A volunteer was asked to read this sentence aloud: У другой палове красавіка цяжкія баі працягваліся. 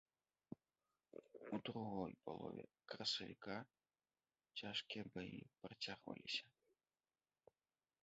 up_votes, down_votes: 1, 2